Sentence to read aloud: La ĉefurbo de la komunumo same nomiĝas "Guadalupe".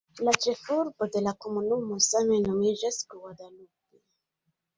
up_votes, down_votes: 1, 2